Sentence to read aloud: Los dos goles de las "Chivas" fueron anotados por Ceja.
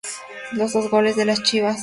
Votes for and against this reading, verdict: 0, 2, rejected